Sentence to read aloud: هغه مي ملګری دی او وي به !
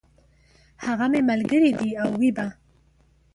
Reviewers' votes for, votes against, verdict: 0, 2, rejected